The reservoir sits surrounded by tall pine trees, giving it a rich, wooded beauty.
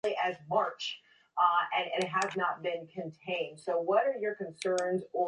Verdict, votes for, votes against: rejected, 0, 2